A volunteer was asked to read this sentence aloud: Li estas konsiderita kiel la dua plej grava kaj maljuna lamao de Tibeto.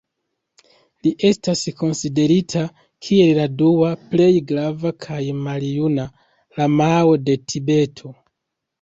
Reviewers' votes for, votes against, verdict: 1, 2, rejected